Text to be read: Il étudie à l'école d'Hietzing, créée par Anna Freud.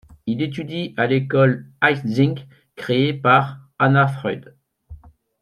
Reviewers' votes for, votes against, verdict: 1, 2, rejected